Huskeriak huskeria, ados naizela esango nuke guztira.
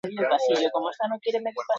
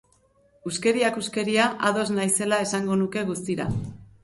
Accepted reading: second